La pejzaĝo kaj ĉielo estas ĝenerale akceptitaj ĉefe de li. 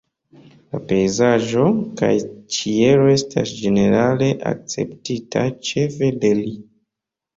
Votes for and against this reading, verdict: 0, 3, rejected